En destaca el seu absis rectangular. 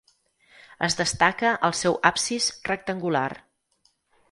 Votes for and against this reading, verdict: 6, 8, rejected